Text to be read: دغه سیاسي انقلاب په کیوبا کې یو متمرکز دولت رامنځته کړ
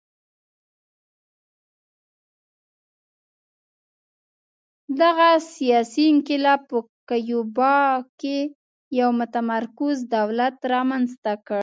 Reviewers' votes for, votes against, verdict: 1, 2, rejected